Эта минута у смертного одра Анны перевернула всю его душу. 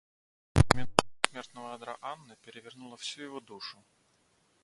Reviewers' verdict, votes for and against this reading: rejected, 0, 2